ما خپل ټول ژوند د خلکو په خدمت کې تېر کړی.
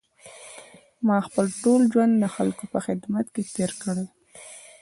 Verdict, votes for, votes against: accepted, 2, 1